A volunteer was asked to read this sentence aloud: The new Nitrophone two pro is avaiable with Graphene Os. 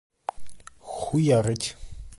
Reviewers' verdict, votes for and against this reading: rejected, 0, 2